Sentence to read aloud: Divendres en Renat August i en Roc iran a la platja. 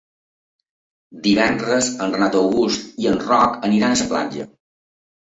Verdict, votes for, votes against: rejected, 1, 2